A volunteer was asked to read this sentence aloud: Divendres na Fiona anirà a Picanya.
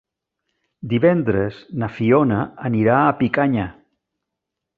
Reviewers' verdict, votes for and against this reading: accepted, 3, 0